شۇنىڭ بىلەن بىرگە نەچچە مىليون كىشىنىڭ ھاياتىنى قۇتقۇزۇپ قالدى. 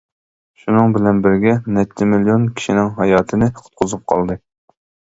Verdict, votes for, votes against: accepted, 2, 0